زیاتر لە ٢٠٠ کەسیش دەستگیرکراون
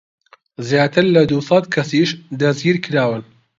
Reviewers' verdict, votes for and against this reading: rejected, 0, 2